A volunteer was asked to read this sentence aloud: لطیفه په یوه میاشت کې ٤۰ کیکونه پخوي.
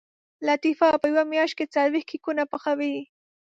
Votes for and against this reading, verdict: 0, 2, rejected